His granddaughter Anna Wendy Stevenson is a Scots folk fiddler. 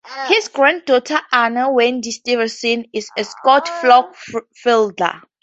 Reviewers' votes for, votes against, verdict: 0, 2, rejected